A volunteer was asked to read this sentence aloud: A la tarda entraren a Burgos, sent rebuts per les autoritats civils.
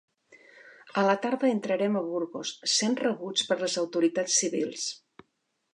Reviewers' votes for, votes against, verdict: 0, 2, rejected